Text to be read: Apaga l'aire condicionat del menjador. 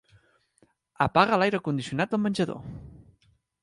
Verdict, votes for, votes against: accepted, 3, 0